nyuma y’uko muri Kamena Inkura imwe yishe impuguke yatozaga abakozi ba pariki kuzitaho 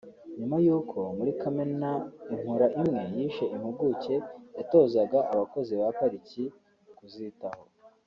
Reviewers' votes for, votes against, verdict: 2, 0, accepted